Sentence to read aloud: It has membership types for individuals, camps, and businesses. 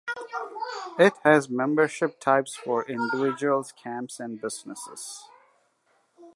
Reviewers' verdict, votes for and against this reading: accepted, 2, 0